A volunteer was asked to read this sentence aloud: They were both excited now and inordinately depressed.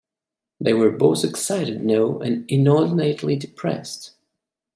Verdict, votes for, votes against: rejected, 1, 2